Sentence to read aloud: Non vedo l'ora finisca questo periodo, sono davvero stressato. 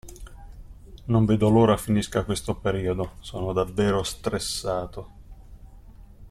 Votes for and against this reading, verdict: 3, 0, accepted